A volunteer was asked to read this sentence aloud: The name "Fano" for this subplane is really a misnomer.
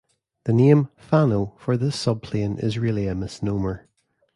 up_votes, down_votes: 0, 2